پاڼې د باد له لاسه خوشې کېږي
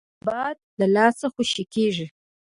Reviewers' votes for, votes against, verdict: 0, 2, rejected